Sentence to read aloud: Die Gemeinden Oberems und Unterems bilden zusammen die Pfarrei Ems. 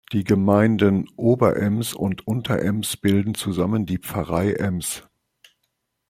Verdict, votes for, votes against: accepted, 2, 0